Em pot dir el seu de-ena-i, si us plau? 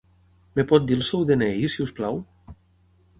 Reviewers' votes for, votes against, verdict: 0, 6, rejected